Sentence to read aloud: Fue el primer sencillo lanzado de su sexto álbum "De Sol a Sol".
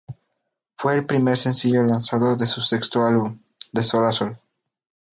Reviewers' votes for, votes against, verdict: 4, 0, accepted